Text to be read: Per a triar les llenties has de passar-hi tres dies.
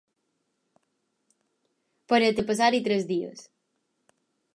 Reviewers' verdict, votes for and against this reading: rejected, 0, 4